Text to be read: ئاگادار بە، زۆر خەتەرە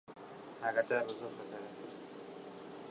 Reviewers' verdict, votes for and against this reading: rejected, 1, 2